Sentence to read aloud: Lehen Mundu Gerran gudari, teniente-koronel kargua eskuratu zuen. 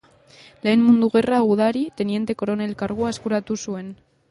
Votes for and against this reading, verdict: 2, 2, rejected